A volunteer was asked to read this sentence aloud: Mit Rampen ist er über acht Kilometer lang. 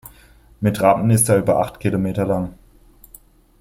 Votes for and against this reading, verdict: 1, 2, rejected